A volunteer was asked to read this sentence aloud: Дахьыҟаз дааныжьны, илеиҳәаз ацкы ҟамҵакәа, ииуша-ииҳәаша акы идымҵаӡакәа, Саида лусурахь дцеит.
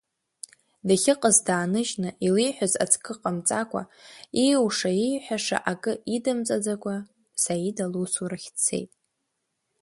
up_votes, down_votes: 2, 0